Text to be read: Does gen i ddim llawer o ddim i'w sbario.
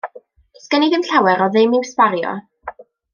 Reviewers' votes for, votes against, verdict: 2, 0, accepted